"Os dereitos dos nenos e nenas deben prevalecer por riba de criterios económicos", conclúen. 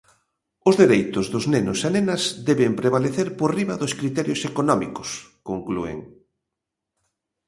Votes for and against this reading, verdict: 0, 2, rejected